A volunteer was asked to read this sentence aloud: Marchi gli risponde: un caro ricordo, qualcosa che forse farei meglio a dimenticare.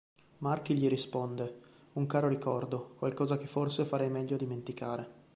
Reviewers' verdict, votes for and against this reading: accepted, 2, 0